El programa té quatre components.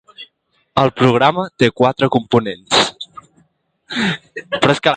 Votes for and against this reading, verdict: 0, 2, rejected